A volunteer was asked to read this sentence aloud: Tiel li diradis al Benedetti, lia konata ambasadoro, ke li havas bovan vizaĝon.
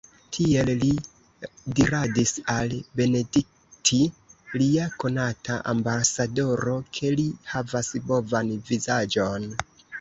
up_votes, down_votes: 0, 2